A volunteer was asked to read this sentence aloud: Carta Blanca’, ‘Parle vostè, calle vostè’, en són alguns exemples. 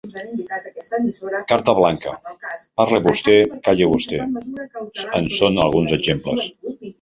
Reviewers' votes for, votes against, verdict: 0, 3, rejected